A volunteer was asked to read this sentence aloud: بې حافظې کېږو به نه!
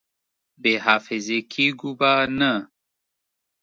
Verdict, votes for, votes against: accepted, 2, 0